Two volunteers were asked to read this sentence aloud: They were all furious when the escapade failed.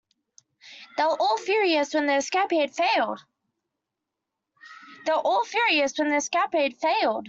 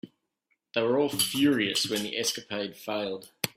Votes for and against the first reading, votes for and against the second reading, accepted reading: 0, 2, 2, 0, second